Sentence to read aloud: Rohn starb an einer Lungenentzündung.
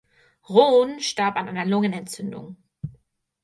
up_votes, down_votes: 4, 0